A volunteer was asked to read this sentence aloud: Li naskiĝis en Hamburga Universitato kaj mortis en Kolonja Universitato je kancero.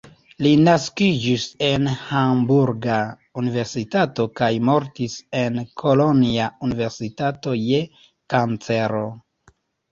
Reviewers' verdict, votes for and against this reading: rejected, 0, 2